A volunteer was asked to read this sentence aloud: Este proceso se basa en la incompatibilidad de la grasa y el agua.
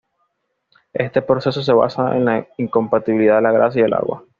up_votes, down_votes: 2, 0